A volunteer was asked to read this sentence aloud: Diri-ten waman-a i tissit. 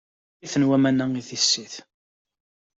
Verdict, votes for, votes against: rejected, 0, 2